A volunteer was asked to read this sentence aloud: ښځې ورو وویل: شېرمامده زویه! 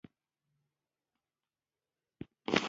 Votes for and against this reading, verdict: 1, 2, rejected